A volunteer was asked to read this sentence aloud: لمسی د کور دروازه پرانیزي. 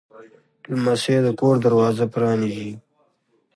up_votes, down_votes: 2, 0